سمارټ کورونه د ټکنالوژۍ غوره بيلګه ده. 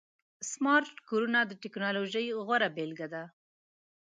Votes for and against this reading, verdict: 2, 0, accepted